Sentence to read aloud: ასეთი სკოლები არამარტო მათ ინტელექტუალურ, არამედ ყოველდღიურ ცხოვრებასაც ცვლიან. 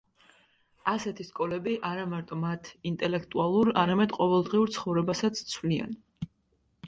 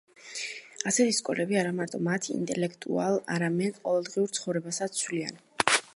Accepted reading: first